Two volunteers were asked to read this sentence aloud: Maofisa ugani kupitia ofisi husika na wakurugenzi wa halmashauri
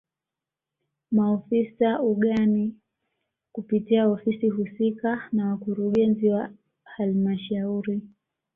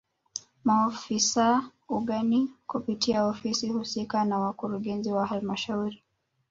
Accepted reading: first